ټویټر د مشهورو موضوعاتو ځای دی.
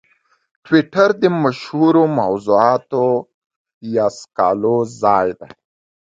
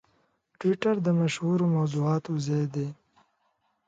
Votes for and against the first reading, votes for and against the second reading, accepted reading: 1, 2, 2, 0, second